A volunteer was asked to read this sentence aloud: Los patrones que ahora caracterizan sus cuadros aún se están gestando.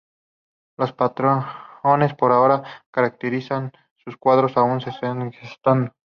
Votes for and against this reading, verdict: 0, 2, rejected